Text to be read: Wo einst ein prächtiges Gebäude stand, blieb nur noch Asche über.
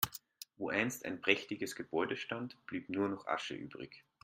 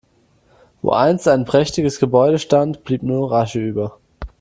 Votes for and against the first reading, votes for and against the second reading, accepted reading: 0, 3, 2, 0, second